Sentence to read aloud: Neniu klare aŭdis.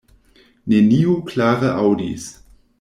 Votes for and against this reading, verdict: 1, 2, rejected